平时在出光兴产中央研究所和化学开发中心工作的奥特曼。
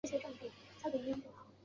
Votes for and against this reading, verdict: 0, 2, rejected